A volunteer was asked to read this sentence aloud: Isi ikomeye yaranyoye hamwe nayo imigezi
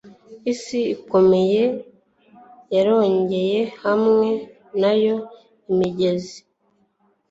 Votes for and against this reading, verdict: 1, 2, rejected